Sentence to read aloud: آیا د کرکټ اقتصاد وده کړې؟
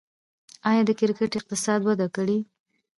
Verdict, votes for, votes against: rejected, 1, 2